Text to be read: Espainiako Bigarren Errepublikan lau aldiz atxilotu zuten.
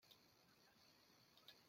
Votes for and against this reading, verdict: 0, 2, rejected